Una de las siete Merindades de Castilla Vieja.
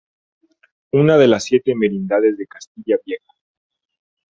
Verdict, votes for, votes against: accepted, 2, 0